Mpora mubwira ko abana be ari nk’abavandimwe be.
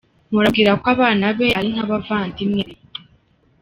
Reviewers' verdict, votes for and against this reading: accepted, 2, 1